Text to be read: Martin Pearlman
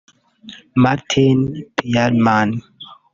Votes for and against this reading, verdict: 1, 2, rejected